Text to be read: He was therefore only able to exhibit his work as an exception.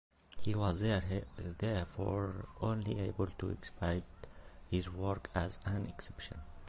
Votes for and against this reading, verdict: 0, 2, rejected